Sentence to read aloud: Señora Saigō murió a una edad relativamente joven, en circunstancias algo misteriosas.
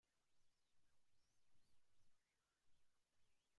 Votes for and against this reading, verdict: 0, 2, rejected